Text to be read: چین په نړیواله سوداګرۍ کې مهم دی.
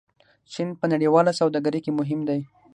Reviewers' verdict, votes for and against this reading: rejected, 3, 6